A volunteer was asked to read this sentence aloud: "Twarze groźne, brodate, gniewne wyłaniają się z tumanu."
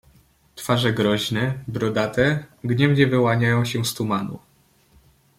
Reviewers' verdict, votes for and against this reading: rejected, 0, 2